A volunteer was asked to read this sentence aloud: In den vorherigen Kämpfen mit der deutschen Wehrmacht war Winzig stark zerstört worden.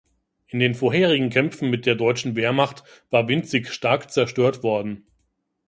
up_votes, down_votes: 3, 0